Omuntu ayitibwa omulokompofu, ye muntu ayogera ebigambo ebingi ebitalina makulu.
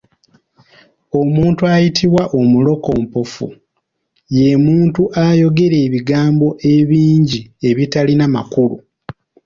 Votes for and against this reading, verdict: 2, 0, accepted